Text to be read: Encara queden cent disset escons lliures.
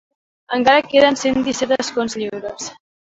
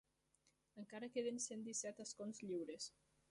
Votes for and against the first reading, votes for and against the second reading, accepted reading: 3, 1, 0, 2, first